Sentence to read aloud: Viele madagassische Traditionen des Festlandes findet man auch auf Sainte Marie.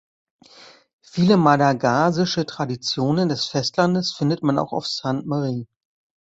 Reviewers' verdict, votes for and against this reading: rejected, 0, 2